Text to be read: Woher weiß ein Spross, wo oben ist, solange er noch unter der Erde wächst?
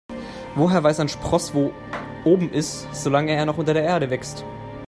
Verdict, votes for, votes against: rejected, 1, 2